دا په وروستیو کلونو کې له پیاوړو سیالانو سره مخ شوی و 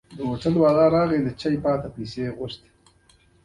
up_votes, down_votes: 0, 2